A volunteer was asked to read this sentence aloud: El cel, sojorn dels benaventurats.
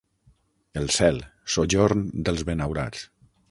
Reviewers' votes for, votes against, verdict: 0, 6, rejected